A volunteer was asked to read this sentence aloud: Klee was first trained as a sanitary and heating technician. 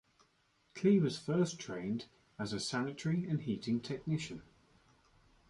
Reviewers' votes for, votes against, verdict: 2, 1, accepted